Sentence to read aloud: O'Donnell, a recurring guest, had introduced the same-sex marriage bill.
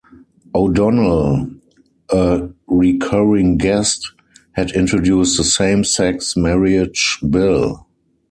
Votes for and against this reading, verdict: 2, 4, rejected